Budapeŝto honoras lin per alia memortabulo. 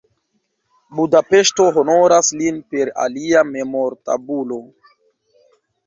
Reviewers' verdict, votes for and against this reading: accepted, 2, 0